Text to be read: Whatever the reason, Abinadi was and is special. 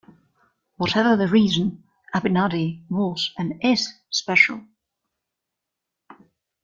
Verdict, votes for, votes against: accepted, 2, 0